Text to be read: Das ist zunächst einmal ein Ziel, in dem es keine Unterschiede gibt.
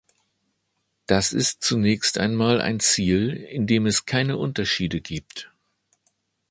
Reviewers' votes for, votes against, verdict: 2, 0, accepted